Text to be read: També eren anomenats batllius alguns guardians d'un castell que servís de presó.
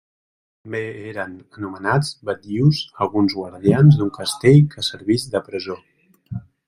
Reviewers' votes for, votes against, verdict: 0, 2, rejected